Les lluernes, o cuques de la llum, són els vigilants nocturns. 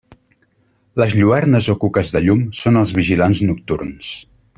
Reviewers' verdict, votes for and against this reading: rejected, 1, 2